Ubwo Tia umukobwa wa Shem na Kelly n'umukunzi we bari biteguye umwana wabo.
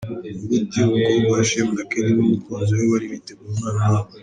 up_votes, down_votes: 0, 3